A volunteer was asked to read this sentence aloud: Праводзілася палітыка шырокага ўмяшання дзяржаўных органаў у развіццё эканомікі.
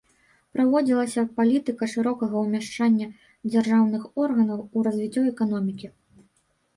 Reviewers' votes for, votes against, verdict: 2, 1, accepted